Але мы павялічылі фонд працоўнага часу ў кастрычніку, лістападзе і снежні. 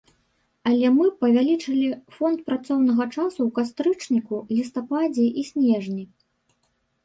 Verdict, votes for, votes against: accepted, 2, 1